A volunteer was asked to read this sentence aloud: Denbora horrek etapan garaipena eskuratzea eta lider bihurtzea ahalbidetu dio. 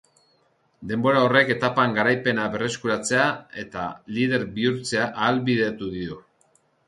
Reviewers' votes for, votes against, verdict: 1, 4, rejected